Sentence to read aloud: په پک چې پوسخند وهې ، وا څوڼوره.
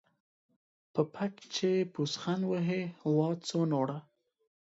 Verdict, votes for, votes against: accepted, 2, 0